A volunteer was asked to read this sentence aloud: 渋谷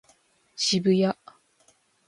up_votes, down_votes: 2, 0